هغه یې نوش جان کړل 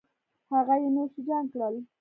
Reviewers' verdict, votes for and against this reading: rejected, 1, 2